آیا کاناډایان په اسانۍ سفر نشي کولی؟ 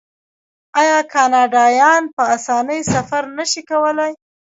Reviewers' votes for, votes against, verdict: 0, 2, rejected